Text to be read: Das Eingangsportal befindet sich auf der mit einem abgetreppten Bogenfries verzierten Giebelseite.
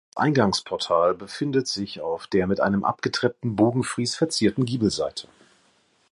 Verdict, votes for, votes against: rejected, 1, 2